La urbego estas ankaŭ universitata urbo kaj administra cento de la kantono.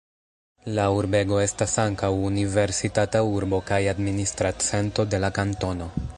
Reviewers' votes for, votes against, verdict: 2, 0, accepted